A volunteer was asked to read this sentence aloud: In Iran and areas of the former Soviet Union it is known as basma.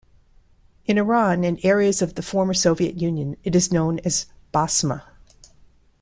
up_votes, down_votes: 2, 0